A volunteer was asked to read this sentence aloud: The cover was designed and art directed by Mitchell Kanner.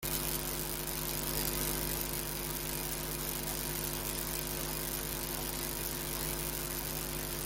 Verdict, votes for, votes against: rejected, 0, 2